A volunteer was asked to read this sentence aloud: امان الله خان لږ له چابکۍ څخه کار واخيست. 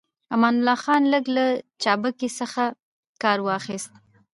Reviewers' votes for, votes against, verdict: 1, 2, rejected